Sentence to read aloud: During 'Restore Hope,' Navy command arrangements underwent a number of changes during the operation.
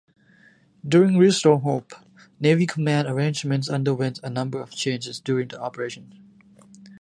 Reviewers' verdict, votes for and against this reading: accepted, 2, 0